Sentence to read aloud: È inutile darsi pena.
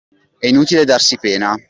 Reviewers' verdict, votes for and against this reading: accepted, 2, 0